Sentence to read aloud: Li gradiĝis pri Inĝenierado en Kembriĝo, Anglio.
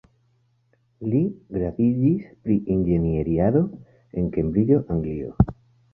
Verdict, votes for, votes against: accepted, 2, 1